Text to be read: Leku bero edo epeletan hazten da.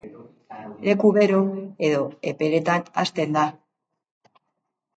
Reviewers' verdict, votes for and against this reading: accepted, 2, 0